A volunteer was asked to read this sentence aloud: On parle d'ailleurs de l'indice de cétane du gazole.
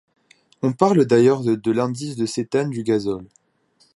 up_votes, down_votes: 1, 2